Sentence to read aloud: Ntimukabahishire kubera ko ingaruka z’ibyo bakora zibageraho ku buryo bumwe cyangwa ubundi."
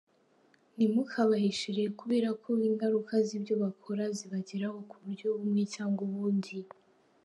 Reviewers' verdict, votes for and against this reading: accepted, 2, 0